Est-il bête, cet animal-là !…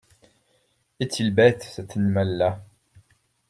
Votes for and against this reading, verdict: 2, 0, accepted